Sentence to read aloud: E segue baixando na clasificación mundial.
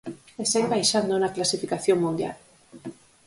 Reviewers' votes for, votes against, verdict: 4, 0, accepted